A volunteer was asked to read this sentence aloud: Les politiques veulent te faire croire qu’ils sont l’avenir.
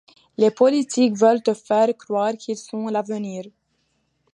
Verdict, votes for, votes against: rejected, 1, 2